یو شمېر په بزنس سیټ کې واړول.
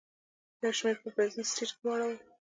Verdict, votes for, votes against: rejected, 1, 2